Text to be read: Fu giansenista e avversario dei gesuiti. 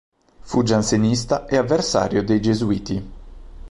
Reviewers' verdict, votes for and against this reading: accepted, 2, 0